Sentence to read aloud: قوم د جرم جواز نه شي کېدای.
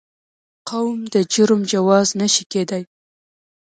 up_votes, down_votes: 2, 1